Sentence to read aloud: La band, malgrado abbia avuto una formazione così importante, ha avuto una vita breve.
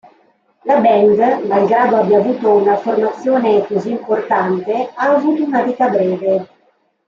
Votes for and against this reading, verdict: 2, 0, accepted